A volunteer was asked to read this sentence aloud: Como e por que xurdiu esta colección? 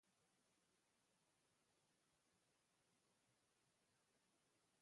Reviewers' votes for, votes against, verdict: 0, 2, rejected